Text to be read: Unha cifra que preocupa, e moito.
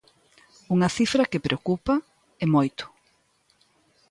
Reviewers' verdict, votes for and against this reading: accepted, 2, 0